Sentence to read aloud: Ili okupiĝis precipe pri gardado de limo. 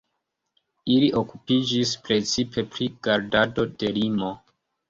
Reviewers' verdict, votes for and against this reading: accepted, 2, 0